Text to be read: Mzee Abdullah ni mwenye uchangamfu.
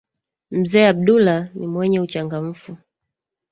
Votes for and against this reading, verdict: 1, 2, rejected